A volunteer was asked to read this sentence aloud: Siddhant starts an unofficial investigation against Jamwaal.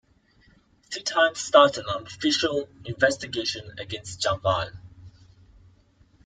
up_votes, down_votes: 0, 2